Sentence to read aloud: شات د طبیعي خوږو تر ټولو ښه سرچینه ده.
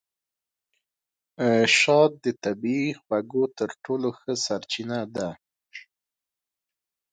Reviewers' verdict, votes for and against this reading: accepted, 2, 0